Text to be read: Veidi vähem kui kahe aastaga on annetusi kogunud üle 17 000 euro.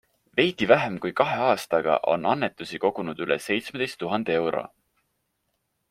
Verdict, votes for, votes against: rejected, 0, 2